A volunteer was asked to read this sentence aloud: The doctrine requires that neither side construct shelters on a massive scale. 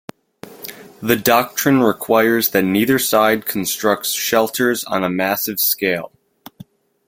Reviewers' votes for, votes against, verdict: 1, 2, rejected